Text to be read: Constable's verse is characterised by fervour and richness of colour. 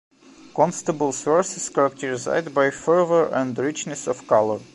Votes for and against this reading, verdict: 0, 2, rejected